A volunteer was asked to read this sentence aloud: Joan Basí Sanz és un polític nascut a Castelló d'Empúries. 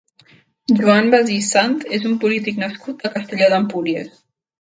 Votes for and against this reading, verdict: 1, 2, rejected